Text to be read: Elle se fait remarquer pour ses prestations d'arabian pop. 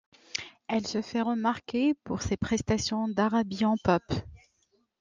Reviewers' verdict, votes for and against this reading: accepted, 2, 1